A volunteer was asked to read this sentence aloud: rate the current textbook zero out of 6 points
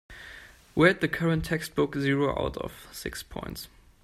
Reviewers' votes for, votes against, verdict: 0, 2, rejected